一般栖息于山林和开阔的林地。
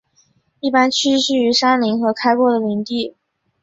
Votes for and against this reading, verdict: 3, 0, accepted